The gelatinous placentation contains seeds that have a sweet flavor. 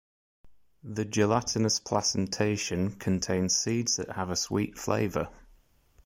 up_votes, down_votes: 2, 0